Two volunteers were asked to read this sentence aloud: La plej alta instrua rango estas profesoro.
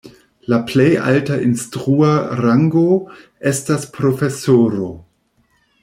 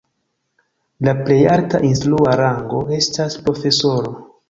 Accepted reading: first